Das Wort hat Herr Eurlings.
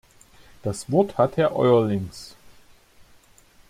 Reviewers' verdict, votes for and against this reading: accepted, 2, 0